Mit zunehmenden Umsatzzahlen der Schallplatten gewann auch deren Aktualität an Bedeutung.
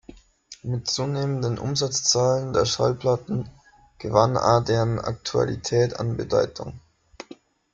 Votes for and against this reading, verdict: 0, 2, rejected